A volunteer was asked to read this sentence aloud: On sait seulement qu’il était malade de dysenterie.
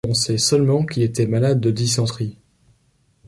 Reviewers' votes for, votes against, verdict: 2, 0, accepted